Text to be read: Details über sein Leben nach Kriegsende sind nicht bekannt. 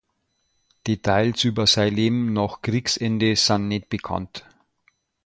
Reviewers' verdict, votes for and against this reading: rejected, 0, 2